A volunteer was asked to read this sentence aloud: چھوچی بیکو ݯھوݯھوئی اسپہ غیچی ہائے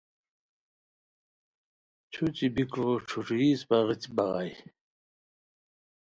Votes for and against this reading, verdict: 1, 2, rejected